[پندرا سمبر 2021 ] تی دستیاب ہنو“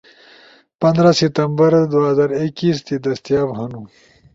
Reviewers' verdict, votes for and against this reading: rejected, 0, 2